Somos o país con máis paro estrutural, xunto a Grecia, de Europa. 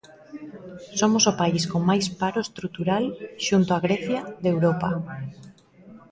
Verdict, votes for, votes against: rejected, 0, 2